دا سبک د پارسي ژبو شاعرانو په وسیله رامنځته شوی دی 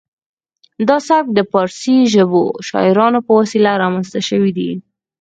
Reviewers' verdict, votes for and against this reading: rejected, 2, 4